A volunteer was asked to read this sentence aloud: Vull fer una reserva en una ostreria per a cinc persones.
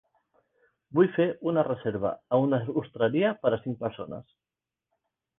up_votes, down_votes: 2, 0